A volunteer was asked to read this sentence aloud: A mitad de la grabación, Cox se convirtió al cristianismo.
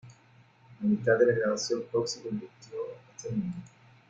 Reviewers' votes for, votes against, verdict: 0, 2, rejected